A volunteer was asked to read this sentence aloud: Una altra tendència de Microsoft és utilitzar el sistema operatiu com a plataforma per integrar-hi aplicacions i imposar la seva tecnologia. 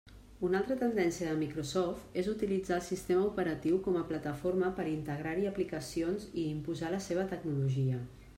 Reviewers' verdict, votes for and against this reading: accepted, 3, 0